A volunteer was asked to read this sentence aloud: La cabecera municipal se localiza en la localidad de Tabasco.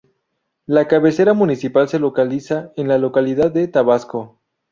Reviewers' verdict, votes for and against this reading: accepted, 2, 0